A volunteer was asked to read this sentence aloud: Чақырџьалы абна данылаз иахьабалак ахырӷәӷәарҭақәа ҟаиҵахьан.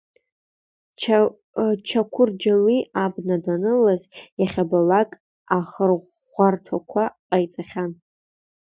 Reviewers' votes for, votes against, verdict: 0, 2, rejected